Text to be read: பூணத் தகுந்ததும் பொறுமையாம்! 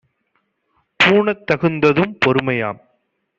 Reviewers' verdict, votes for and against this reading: accepted, 2, 0